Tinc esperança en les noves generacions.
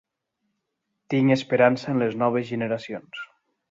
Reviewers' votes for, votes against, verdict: 2, 0, accepted